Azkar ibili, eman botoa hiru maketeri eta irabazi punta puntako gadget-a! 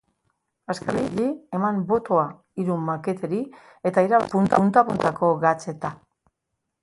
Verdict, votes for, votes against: rejected, 0, 4